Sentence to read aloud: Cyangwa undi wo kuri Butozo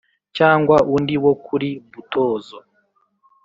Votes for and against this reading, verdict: 2, 0, accepted